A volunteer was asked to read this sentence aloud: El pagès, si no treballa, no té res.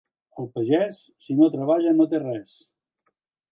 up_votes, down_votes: 2, 0